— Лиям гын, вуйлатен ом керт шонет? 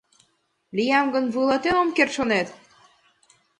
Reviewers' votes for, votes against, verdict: 2, 0, accepted